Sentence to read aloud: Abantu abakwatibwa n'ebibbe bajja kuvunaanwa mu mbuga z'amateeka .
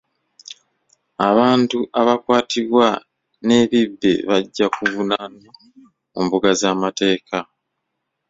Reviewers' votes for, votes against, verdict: 2, 1, accepted